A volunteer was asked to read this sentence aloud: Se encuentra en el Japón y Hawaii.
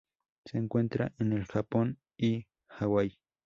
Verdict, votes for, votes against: accepted, 2, 0